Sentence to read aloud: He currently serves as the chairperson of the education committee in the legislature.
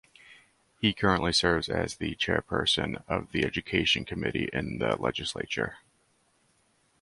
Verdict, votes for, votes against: accepted, 2, 0